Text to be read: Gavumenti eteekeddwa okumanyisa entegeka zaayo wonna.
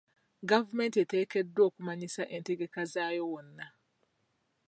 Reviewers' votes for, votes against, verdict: 2, 0, accepted